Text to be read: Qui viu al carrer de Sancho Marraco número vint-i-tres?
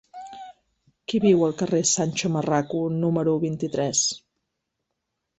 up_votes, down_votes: 1, 2